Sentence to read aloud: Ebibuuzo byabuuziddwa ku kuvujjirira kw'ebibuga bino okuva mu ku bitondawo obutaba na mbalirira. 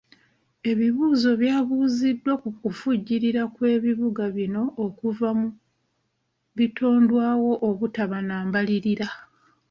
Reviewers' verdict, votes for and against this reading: rejected, 1, 2